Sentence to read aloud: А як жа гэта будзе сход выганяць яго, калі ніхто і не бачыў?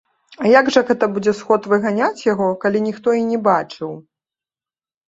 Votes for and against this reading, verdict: 2, 0, accepted